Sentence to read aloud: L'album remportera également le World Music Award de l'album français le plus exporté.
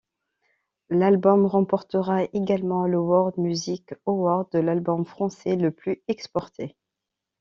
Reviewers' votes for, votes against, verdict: 2, 0, accepted